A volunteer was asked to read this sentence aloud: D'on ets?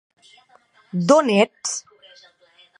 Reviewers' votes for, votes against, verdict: 2, 1, accepted